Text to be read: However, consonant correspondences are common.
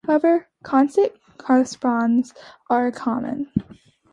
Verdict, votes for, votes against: rejected, 1, 2